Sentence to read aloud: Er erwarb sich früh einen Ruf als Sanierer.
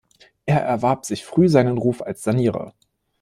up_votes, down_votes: 1, 2